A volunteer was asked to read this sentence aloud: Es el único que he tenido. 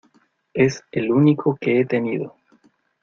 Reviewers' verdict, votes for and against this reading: accepted, 2, 0